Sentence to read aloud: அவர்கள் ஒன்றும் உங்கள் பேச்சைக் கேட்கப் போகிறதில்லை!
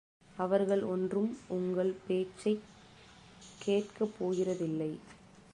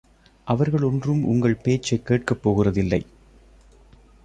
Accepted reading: second